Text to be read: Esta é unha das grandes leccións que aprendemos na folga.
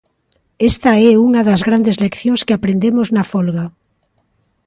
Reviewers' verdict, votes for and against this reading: accepted, 2, 0